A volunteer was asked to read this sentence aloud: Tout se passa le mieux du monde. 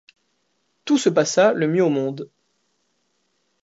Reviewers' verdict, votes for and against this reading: rejected, 1, 2